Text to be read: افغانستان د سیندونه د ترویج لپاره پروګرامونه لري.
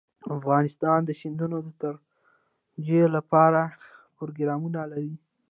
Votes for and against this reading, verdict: 0, 2, rejected